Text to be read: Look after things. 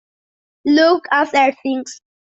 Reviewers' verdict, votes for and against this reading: accepted, 2, 0